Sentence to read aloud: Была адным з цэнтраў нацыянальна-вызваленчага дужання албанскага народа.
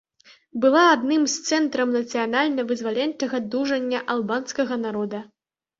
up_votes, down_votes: 1, 2